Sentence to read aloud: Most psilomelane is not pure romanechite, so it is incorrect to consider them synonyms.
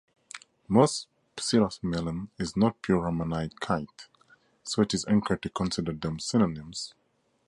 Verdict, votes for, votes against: rejected, 0, 6